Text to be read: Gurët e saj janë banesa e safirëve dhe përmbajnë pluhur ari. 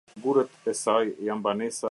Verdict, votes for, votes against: rejected, 0, 2